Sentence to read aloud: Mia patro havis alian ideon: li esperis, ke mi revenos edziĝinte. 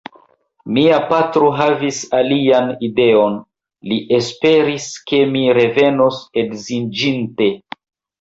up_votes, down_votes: 2, 1